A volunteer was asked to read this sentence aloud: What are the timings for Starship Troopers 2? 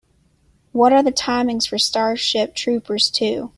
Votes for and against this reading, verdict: 0, 2, rejected